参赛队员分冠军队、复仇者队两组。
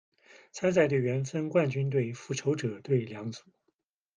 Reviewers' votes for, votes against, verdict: 2, 0, accepted